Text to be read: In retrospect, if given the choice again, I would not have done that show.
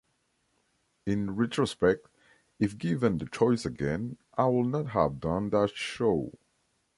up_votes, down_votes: 2, 0